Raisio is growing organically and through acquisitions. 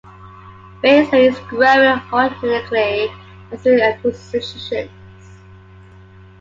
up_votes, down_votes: 0, 2